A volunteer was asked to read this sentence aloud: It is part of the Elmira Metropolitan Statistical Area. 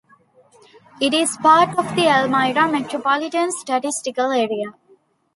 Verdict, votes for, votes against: accepted, 2, 0